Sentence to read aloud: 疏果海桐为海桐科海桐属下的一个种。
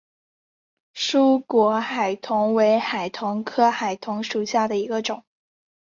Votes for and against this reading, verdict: 2, 0, accepted